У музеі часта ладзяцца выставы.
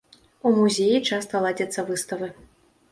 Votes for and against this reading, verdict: 0, 2, rejected